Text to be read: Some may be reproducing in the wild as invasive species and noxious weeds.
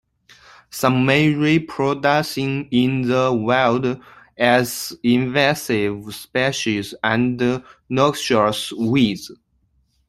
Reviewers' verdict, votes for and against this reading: rejected, 0, 2